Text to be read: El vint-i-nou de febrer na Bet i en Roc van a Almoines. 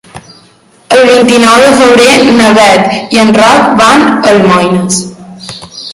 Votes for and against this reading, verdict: 0, 2, rejected